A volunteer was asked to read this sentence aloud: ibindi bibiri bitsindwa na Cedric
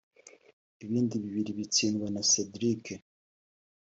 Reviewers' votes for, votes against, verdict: 2, 1, accepted